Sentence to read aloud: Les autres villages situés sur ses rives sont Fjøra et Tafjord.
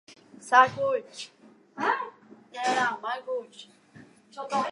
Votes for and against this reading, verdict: 0, 2, rejected